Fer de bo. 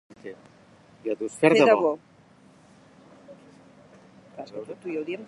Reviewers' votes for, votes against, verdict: 1, 2, rejected